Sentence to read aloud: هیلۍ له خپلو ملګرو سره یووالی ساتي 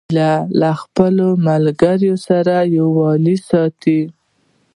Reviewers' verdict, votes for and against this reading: rejected, 1, 2